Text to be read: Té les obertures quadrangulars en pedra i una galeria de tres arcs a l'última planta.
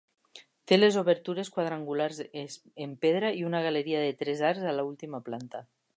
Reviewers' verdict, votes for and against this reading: rejected, 0, 2